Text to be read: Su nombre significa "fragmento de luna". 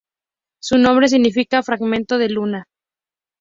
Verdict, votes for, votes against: accepted, 2, 0